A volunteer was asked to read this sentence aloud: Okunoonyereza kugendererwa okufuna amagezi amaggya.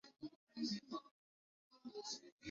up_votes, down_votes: 0, 2